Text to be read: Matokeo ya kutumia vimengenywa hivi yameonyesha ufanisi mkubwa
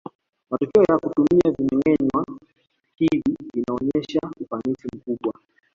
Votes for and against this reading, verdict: 0, 2, rejected